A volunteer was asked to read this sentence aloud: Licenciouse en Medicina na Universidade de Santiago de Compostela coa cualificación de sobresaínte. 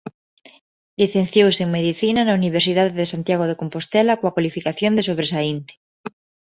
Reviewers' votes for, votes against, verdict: 2, 0, accepted